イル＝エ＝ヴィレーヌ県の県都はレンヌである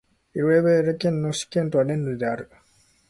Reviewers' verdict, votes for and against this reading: rejected, 0, 2